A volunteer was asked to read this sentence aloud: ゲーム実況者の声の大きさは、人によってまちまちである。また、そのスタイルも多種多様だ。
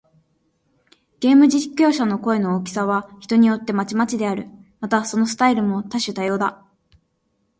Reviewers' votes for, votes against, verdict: 2, 0, accepted